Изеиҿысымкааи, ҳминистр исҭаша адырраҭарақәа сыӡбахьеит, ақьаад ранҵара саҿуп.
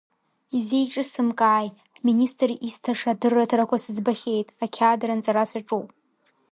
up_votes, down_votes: 0, 2